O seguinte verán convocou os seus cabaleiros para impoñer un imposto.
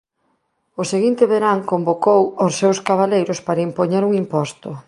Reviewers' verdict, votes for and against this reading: accepted, 3, 0